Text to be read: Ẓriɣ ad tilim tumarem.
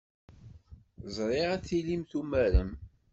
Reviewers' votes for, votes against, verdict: 2, 0, accepted